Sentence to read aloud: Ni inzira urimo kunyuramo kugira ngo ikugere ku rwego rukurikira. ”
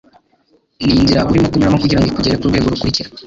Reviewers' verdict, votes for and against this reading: rejected, 2, 3